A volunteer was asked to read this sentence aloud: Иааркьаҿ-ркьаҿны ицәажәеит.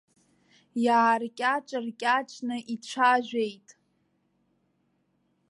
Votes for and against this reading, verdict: 2, 0, accepted